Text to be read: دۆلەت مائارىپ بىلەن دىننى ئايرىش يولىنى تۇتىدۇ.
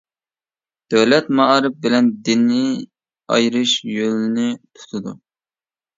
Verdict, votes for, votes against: rejected, 1, 2